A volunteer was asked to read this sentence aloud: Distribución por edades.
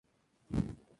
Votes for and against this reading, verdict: 0, 2, rejected